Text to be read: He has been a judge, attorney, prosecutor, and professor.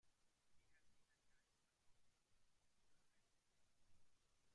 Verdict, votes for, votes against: rejected, 0, 2